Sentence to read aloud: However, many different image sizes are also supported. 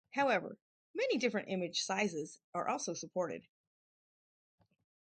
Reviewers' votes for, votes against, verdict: 4, 0, accepted